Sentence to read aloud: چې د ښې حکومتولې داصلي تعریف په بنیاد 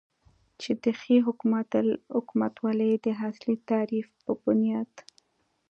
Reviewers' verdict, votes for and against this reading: accepted, 2, 0